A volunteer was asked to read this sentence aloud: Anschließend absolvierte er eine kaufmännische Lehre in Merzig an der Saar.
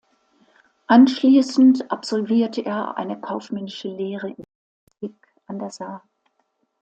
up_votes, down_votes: 0, 2